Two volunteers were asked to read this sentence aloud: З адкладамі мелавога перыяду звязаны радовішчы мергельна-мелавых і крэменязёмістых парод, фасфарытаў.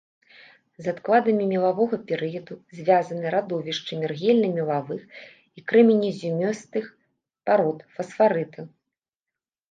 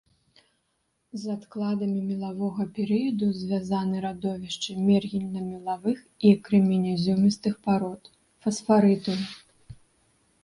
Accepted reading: second